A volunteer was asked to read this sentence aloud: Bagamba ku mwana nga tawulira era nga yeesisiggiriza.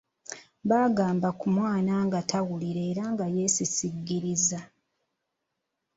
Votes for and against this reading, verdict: 2, 0, accepted